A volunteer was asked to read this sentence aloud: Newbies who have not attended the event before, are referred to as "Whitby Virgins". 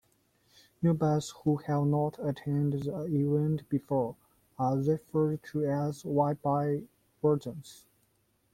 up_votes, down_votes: 1, 3